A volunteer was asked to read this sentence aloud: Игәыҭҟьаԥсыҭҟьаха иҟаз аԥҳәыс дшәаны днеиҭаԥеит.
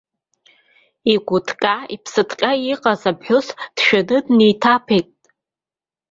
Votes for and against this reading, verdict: 2, 1, accepted